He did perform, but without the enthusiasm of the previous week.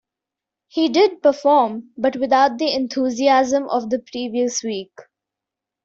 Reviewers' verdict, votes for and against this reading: accepted, 2, 0